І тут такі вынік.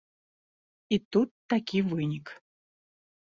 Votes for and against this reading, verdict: 2, 0, accepted